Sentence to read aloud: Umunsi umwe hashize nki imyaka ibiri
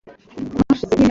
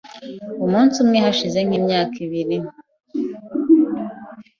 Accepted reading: second